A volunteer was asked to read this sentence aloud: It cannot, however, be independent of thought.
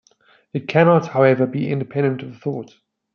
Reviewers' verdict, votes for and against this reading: accepted, 2, 0